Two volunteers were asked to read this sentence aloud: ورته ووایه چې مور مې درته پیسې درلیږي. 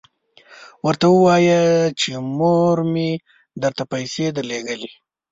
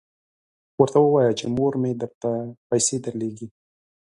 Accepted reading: second